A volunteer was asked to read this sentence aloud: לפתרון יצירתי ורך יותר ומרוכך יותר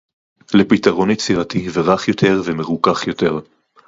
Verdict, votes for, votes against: rejected, 2, 2